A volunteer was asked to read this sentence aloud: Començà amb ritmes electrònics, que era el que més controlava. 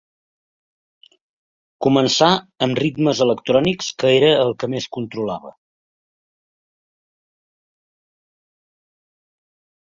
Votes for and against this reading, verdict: 0, 2, rejected